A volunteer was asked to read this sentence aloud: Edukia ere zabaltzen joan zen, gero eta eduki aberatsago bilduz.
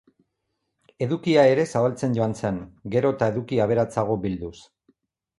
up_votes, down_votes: 4, 0